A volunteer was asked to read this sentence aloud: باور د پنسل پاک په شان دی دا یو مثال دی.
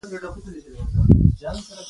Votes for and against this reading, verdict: 1, 2, rejected